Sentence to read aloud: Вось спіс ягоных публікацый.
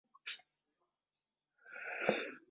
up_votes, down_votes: 0, 2